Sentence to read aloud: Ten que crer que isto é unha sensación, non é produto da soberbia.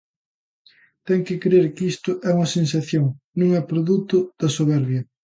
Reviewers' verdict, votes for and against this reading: accepted, 2, 0